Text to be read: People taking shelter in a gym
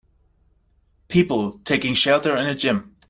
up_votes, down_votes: 2, 0